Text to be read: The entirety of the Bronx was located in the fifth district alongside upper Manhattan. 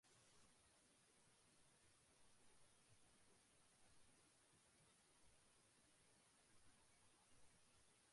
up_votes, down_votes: 0, 2